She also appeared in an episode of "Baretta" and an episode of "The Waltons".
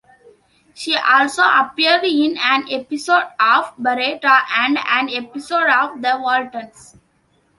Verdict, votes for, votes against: accepted, 2, 0